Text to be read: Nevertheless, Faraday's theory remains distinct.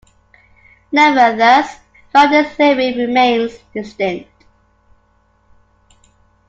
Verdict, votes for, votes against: rejected, 0, 2